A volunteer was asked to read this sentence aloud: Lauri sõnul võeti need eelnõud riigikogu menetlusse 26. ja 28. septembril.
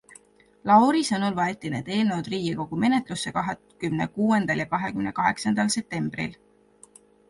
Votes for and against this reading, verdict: 0, 2, rejected